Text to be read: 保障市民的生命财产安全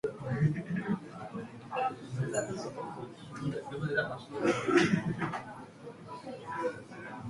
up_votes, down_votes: 0, 2